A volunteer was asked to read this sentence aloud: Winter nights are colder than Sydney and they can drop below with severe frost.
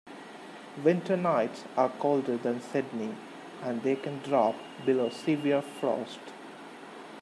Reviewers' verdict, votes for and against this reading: rejected, 0, 2